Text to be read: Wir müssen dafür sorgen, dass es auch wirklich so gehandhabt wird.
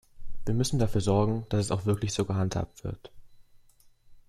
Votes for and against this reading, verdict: 2, 0, accepted